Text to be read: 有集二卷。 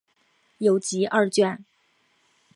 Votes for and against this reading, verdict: 2, 0, accepted